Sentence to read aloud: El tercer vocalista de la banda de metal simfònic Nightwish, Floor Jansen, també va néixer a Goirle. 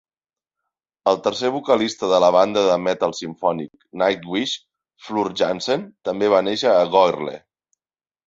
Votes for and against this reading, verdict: 2, 0, accepted